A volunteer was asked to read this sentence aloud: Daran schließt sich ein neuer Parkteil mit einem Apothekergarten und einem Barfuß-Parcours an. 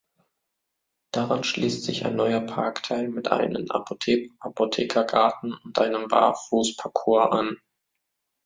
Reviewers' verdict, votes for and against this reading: rejected, 0, 2